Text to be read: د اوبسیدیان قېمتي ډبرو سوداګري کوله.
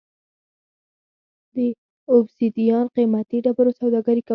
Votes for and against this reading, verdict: 1, 2, rejected